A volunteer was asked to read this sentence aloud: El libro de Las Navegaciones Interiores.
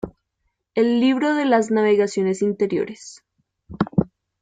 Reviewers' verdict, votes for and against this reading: accepted, 2, 0